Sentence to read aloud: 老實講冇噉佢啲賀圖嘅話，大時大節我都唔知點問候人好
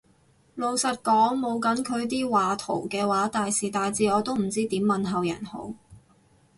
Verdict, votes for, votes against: accepted, 4, 2